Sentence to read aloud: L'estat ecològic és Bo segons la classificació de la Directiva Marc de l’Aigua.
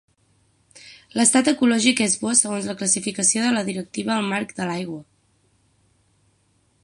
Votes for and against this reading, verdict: 6, 0, accepted